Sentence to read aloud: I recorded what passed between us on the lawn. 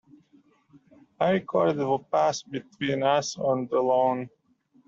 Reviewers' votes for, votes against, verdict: 0, 2, rejected